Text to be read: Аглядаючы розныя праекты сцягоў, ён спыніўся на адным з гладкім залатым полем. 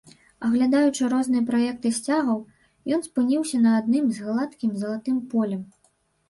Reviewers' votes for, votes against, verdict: 1, 2, rejected